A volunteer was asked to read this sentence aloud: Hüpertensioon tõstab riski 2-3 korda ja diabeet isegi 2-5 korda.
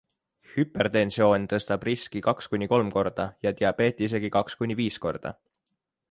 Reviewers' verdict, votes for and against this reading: rejected, 0, 2